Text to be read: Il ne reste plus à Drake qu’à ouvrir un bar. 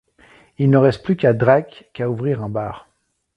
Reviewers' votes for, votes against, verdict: 0, 2, rejected